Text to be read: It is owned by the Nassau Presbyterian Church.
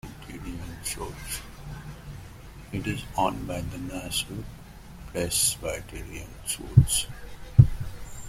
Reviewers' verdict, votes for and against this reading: rejected, 1, 2